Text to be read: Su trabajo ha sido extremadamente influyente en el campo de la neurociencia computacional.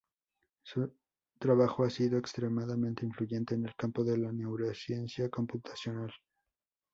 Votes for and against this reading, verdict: 2, 2, rejected